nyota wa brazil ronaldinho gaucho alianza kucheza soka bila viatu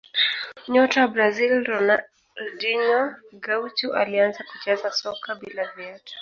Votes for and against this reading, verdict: 1, 2, rejected